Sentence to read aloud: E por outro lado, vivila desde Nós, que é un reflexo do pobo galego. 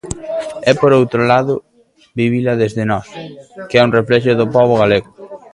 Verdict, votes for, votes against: accepted, 2, 0